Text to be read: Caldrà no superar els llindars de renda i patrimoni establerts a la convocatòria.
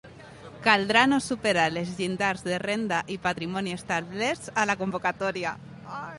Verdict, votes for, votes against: accepted, 2, 0